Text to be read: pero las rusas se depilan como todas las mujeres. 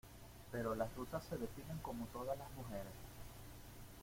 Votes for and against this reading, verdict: 2, 0, accepted